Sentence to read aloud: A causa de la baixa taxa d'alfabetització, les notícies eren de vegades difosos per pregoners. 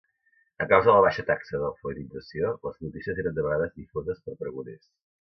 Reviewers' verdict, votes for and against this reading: rejected, 0, 2